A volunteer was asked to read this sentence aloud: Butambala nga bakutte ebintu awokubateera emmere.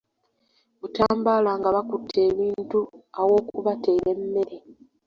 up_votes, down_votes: 0, 2